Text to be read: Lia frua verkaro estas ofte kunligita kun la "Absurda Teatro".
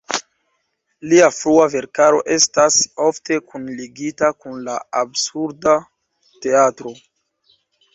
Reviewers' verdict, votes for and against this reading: accepted, 2, 1